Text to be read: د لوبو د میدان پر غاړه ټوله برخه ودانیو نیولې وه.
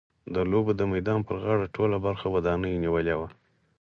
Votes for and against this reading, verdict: 4, 0, accepted